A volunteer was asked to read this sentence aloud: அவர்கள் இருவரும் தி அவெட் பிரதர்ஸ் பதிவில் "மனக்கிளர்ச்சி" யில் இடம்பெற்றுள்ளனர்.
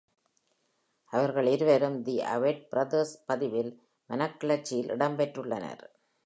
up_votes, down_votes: 2, 0